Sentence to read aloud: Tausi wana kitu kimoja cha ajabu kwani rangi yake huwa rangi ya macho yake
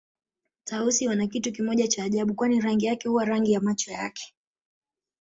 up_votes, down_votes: 2, 1